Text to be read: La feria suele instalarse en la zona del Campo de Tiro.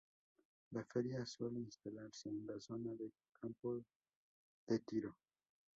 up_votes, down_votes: 0, 4